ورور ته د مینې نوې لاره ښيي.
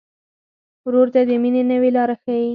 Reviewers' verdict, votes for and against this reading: rejected, 2, 4